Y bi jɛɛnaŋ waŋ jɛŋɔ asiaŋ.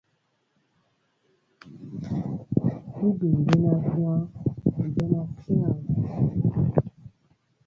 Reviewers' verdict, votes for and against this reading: rejected, 0, 2